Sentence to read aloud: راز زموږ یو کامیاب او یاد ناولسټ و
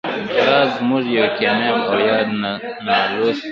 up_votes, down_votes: 1, 2